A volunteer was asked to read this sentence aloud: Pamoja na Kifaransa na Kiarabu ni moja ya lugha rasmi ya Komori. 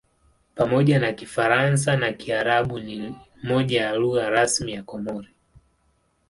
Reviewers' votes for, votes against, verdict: 2, 0, accepted